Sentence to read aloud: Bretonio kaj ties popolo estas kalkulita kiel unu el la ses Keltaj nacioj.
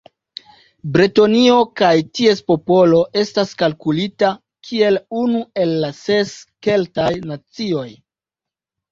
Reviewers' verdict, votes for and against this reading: accepted, 2, 0